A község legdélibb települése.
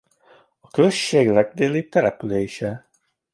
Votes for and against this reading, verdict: 2, 1, accepted